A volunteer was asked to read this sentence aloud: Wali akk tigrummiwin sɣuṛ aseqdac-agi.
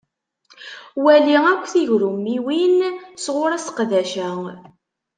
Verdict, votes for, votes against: rejected, 1, 2